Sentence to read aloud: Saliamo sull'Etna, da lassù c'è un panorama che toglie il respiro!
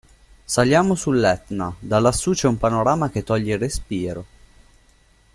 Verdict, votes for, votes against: accepted, 2, 0